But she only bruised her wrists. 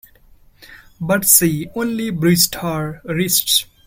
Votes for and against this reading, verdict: 1, 2, rejected